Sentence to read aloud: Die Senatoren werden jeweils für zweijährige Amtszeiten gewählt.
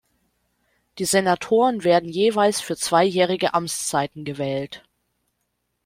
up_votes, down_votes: 2, 0